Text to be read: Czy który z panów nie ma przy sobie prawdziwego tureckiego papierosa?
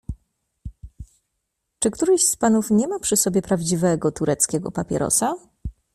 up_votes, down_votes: 1, 2